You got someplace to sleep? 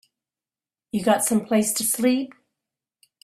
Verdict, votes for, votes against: accepted, 3, 0